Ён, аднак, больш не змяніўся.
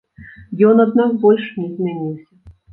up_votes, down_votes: 1, 2